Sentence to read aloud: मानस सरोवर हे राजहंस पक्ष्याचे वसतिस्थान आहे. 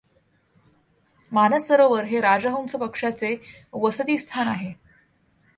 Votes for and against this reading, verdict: 2, 0, accepted